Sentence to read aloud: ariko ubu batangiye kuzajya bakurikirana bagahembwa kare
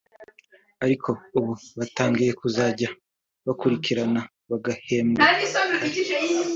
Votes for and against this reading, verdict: 2, 0, accepted